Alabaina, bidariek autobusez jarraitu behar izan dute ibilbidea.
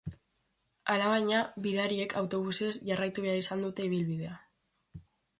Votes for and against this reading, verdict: 3, 0, accepted